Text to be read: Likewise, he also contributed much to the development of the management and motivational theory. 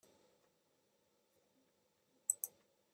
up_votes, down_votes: 0, 2